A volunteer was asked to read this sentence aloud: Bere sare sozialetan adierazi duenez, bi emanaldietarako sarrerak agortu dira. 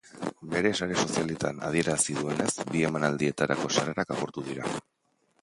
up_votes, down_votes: 2, 0